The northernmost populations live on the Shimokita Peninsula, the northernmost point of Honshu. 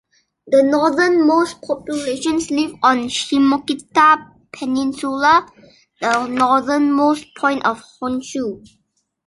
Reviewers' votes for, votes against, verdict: 1, 2, rejected